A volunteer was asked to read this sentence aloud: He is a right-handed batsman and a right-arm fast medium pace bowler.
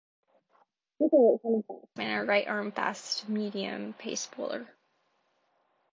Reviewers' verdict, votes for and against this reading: rejected, 1, 2